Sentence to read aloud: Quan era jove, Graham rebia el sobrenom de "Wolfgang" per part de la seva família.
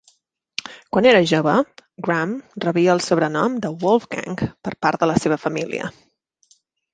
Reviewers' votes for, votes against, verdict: 3, 0, accepted